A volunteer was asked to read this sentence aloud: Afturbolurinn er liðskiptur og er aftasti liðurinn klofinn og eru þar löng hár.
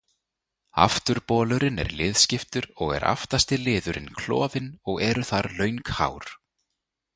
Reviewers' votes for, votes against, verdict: 2, 0, accepted